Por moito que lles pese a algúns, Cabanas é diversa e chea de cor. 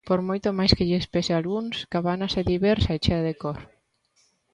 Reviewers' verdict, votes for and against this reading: rejected, 0, 2